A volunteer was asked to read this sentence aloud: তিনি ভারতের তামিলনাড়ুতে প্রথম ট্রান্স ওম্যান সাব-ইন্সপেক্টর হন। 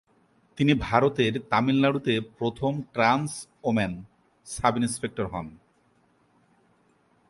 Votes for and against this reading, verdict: 3, 0, accepted